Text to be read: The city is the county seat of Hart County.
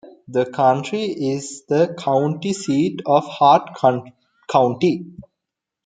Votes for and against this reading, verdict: 0, 2, rejected